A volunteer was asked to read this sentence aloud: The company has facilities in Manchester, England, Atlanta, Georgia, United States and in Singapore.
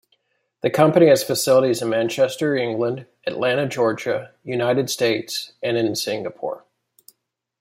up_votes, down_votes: 2, 0